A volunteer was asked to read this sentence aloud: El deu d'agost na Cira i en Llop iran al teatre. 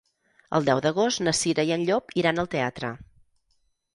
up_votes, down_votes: 6, 0